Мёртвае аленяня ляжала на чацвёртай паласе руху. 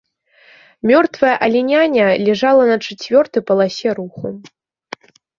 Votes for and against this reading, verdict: 0, 2, rejected